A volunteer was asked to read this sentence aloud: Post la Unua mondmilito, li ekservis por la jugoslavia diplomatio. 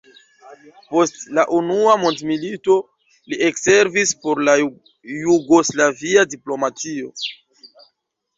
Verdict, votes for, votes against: rejected, 1, 2